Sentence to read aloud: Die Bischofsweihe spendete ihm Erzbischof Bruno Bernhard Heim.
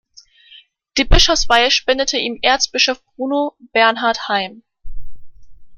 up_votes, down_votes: 2, 0